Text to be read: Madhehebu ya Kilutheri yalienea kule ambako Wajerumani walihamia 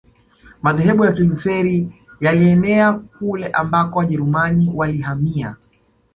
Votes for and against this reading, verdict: 2, 1, accepted